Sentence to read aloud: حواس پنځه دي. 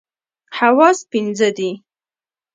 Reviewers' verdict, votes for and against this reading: rejected, 1, 2